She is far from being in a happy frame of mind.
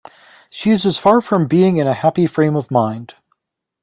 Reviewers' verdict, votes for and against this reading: rejected, 0, 3